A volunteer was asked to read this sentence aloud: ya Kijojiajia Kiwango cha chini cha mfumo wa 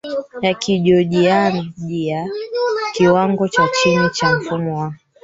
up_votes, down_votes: 0, 3